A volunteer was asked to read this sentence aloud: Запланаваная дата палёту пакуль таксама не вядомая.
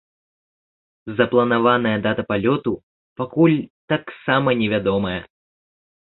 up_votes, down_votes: 2, 0